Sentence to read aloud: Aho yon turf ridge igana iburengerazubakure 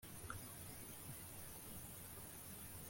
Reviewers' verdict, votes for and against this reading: rejected, 1, 2